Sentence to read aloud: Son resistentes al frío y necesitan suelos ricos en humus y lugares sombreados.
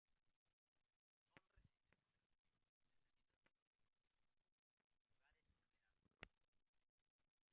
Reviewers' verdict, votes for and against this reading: rejected, 0, 2